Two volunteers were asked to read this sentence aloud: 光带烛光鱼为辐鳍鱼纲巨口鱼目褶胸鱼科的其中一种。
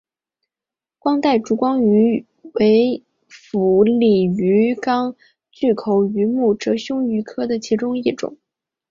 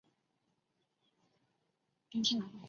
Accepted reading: first